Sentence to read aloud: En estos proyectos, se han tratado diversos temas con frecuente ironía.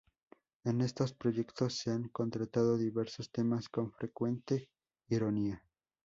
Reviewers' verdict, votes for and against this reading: rejected, 0, 2